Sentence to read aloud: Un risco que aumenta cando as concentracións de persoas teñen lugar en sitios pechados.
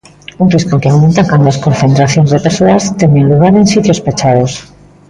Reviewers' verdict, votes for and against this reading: rejected, 0, 2